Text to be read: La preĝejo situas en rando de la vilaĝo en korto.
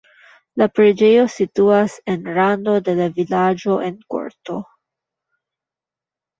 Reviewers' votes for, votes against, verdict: 1, 2, rejected